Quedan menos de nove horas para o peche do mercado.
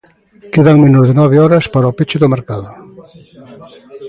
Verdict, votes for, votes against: accepted, 2, 0